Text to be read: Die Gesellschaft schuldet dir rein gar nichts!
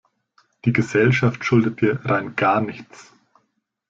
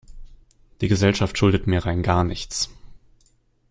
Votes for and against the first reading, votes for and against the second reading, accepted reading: 2, 0, 0, 2, first